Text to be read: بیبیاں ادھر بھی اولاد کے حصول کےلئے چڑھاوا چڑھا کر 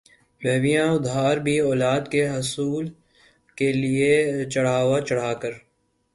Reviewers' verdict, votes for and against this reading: rejected, 2, 3